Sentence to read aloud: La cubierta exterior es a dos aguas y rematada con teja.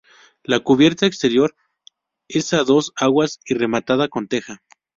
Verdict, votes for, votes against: accepted, 2, 0